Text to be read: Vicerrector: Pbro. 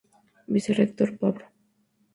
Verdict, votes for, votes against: rejected, 0, 2